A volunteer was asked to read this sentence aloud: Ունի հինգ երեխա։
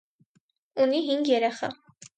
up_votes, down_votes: 4, 0